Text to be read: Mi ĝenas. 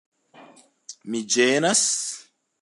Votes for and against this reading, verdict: 2, 0, accepted